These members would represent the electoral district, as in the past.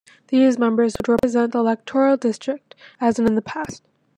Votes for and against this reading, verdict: 1, 2, rejected